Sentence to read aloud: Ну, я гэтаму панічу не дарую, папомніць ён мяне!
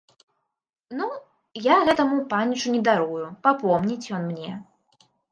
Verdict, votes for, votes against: rejected, 1, 3